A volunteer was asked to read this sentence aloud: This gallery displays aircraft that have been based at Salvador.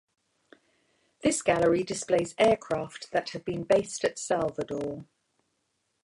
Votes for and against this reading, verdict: 1, 2, rejected